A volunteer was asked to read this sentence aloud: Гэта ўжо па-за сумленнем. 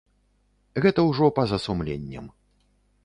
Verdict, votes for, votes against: accepted, 2, 0